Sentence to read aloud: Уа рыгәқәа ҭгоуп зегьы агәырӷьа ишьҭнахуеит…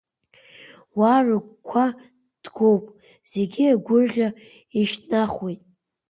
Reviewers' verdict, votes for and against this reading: accepted, 2, 1